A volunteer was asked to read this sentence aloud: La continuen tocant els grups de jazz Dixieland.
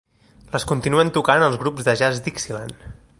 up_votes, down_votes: 1, 3